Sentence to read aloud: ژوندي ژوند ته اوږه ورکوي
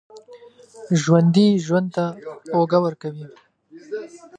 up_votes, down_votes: 2, 1